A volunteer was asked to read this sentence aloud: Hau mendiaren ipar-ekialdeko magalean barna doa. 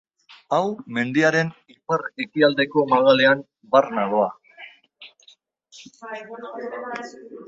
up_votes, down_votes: 1, 2